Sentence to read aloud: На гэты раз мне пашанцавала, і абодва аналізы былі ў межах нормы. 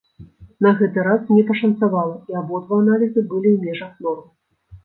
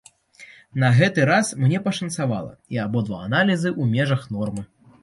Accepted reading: first